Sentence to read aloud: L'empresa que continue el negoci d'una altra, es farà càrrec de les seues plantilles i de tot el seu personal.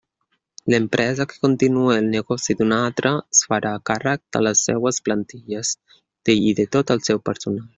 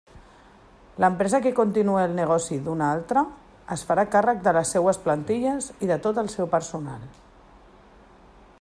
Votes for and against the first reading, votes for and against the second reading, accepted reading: 1, 2, 2, 0, second